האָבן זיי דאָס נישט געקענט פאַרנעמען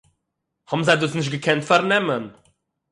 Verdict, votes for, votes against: accepted, 6, 0